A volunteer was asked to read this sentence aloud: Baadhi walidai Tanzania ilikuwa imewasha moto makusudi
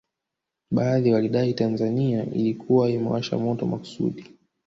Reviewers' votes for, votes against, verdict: 9, 0, accepted